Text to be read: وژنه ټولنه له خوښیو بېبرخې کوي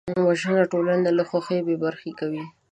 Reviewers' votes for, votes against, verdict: 2, 0, accepted